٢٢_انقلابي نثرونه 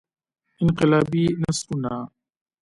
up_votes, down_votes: 0, 2